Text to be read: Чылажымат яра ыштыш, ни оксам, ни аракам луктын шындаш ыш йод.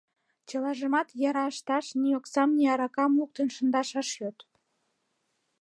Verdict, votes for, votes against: rejected, 1, 2